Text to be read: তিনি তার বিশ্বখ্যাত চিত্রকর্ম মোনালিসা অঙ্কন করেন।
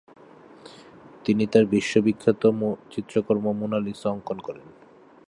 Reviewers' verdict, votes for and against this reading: rejected, 0, 3